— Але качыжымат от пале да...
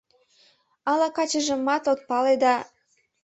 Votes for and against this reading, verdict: 0, 2, rejected